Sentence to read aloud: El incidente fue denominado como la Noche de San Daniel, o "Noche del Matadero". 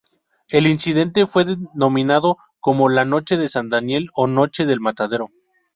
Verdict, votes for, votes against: accepted, 4, 0